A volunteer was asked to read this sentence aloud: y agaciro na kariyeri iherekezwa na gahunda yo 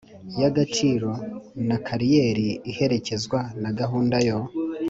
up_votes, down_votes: 3, 0